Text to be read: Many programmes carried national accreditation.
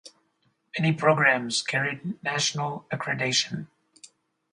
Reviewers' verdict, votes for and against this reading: rejected, 2, 2